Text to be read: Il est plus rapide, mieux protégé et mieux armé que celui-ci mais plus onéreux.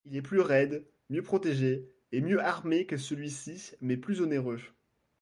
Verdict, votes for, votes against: rejected, 1, 2